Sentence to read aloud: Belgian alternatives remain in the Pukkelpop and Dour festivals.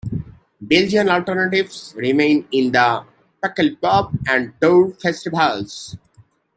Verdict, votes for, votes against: accepted, 2, 1